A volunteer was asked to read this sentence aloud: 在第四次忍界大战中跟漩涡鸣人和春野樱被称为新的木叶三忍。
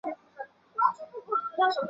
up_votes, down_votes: 0, 2